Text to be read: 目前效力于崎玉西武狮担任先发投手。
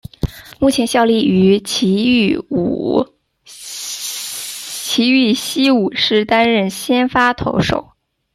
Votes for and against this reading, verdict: 0, 2, rejected